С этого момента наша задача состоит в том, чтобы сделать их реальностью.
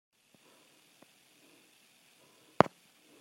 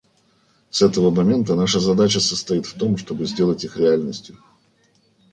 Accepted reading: second